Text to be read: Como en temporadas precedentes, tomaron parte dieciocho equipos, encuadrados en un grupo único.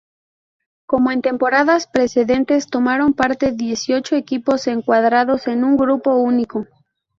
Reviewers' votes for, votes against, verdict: 2, 0, accepted